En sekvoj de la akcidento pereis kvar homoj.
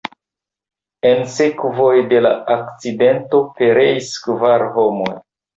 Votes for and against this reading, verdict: 2, 1, accepted